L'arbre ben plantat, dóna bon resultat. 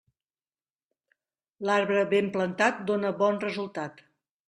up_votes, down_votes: 1, 2